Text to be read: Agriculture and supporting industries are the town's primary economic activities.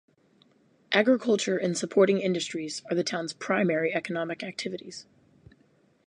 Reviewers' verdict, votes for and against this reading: rejected, 2, 2